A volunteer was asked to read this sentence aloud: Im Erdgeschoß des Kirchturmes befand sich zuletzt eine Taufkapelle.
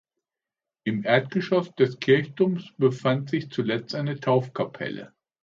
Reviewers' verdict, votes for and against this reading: accepted, 2, 0